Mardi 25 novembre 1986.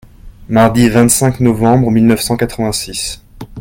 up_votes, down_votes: 0, 2